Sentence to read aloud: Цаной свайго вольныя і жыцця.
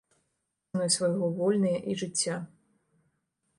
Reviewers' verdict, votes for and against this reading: rejected, 0, 2